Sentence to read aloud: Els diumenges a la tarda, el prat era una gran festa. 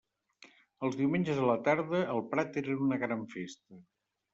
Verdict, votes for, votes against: accepted, 2, 0